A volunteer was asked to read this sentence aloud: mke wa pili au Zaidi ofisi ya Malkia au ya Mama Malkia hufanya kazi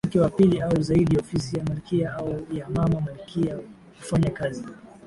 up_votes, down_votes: 2, 0